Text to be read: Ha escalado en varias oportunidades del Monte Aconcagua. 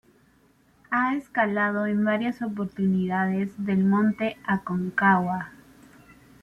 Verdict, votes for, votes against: accepted, 2, 1